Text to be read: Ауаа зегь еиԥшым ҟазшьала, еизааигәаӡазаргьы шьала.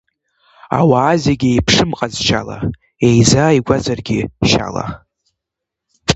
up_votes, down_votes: 1, 2